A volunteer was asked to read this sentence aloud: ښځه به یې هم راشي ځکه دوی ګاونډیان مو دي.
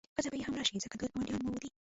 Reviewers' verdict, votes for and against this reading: rejected, 1, 3